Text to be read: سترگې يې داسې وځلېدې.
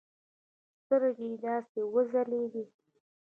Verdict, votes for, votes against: rejected, 0, 2